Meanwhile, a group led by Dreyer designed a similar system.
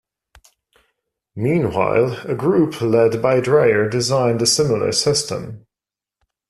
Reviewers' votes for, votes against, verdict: 2, 0, accepted